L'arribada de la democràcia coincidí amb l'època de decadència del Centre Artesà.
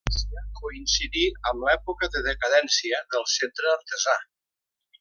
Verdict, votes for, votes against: rejected, 0, 2